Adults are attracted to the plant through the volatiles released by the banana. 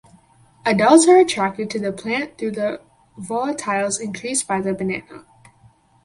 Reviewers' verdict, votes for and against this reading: rejected, 0, 4